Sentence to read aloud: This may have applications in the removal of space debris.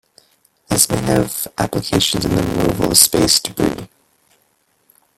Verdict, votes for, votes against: rejected, 0, 2